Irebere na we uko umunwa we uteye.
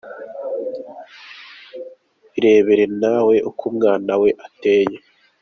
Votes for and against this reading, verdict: 0, 2, rejected